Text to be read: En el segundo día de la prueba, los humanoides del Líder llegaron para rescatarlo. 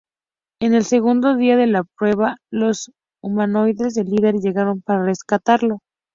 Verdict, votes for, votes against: rejected, 0, 2